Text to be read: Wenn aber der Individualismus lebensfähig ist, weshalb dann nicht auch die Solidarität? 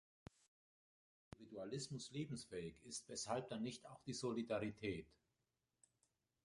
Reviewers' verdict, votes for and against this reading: rejected, 0, 2